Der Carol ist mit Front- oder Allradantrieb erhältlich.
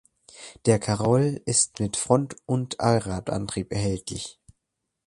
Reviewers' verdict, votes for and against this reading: accepted, 2, 0